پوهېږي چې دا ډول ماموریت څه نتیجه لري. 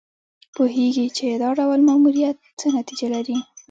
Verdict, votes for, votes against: accepted, 2, 0